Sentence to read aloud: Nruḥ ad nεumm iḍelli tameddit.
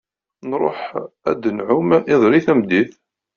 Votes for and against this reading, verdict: 2, 0, accepted